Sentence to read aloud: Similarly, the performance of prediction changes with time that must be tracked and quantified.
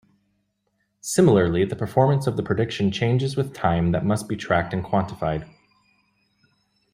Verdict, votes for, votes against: rejected, 0, 2